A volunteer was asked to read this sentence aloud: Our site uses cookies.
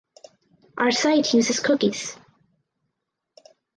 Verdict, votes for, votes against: accepted, 4, 0